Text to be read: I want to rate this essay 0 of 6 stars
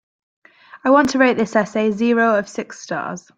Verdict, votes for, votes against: rejected, 0, 2